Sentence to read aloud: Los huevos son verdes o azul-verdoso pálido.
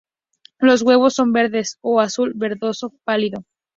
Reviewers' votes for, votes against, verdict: 2, 0, accepted